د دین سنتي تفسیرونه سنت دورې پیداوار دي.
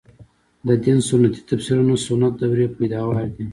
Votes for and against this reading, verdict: 3, 2, accepted